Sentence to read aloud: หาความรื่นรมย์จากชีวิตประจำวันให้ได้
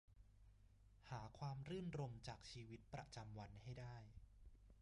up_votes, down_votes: 2, 0